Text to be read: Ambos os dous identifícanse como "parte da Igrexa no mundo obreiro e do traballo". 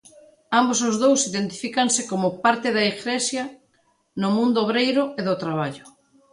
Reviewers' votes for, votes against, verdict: 1, 2, rejected